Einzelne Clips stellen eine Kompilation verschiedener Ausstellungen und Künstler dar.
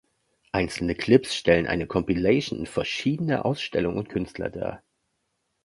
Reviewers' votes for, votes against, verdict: 2, 0, accepted